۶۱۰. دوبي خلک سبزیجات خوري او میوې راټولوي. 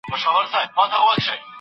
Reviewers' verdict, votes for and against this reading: rejected, 0, 2